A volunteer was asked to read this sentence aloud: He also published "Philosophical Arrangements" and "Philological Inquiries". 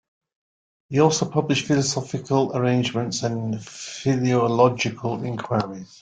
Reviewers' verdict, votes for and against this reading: accepted, 2, 0